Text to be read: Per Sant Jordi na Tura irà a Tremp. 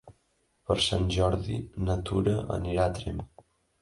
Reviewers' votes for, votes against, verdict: 1, 2, rejected